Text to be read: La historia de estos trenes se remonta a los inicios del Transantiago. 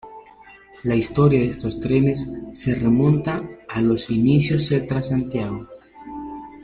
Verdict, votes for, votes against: accepted, 2, 0